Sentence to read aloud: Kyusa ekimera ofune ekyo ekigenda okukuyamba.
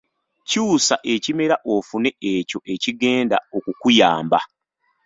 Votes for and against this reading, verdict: 2, 0, accepted